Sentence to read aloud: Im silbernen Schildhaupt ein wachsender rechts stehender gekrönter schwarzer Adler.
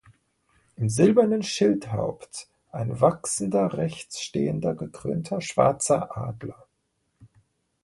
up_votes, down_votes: 2, 0